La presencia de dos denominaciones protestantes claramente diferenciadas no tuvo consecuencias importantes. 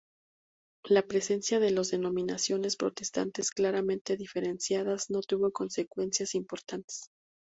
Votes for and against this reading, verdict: 0, 2, rejected